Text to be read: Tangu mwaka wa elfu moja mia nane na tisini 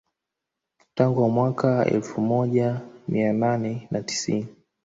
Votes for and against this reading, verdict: 1, 2, rejected